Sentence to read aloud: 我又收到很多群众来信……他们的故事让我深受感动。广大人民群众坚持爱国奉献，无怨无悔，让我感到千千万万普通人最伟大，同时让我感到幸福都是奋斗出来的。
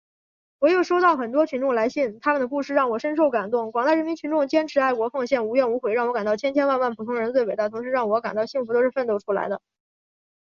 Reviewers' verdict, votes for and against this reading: accepted, 2, 1